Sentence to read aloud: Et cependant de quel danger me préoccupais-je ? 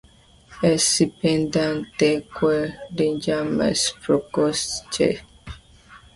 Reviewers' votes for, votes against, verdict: 0, 2, rejected